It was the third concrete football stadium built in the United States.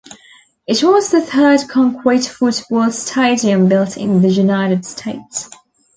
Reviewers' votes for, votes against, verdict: 0, 2, rejected